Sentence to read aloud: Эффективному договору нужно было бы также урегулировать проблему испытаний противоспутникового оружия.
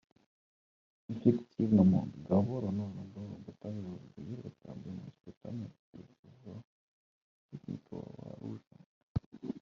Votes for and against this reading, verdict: 0, 2, rejected